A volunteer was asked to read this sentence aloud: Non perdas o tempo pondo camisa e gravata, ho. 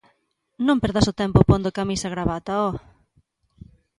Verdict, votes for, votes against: accepted, 2, 1